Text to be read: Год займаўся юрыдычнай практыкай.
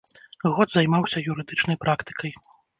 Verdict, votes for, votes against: accepted, 2, 0